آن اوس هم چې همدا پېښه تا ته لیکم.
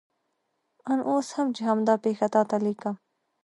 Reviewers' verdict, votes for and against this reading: rejected, 1, 2